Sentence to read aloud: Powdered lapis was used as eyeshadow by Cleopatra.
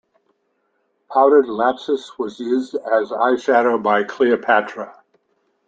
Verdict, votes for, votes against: accepted, 2, 1